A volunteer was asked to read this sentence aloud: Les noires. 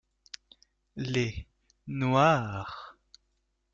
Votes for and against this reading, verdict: 0, 2, rejected